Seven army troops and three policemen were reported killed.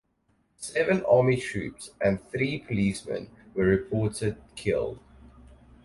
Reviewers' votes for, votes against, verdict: 4, 0, accepted